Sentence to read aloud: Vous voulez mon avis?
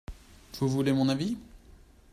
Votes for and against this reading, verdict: 2, 0, accepted